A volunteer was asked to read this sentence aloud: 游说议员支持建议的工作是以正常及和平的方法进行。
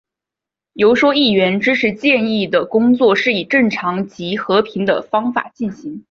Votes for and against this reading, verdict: 4, 0, accepted